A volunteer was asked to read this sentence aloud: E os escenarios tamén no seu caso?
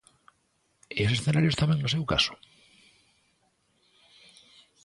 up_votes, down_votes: 1, 2